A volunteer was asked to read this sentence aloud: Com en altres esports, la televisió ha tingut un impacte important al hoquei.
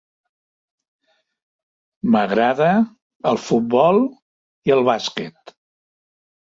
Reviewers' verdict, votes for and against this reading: rejected, 0, 2